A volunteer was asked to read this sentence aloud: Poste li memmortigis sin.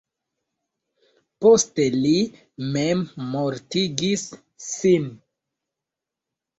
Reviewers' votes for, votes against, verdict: 1, 2, rejected